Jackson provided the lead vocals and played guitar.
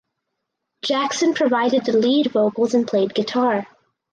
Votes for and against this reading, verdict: 4, 0, accepted